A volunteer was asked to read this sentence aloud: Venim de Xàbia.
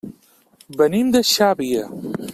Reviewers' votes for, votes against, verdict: 2, 0, accepted